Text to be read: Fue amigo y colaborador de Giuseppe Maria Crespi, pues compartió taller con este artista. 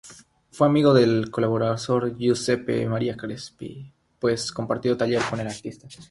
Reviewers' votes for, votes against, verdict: 0, 3, rejected